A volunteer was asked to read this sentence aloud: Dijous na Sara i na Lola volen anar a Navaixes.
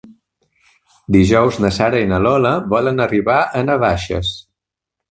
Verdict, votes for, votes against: rejected, 0, 2